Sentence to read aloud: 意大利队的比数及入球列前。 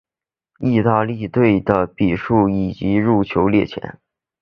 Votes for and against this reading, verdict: 1, 3, rejected